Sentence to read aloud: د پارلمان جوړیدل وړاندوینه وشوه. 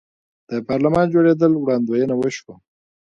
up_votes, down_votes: 2, 1